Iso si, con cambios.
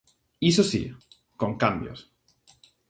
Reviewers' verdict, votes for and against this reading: accepted, 2, 0